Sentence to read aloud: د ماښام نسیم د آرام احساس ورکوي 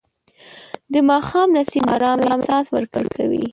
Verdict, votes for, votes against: rejected, 2, 4